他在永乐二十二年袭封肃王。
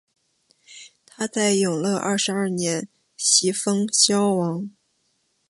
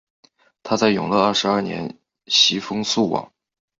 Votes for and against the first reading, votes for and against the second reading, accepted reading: 0, 2, 4, 0, second